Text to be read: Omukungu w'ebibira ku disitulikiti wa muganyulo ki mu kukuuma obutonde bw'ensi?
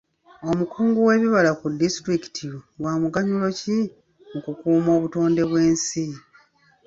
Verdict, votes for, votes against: rejected, 1, 2